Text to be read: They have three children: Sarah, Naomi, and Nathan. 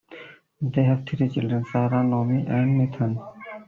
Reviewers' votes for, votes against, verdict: 1, 2, rejected